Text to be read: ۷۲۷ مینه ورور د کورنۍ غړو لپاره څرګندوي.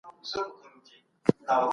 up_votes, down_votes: 0, 2